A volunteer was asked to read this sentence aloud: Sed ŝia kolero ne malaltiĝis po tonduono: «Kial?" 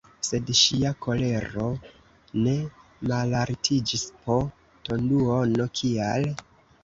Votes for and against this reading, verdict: 0, 2, rejected